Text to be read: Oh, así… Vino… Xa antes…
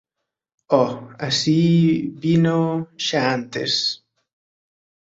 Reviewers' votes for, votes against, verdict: 4, 0, accepted